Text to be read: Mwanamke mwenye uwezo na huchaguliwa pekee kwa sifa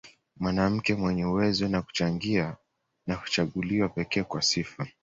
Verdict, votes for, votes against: rejected, 1, 2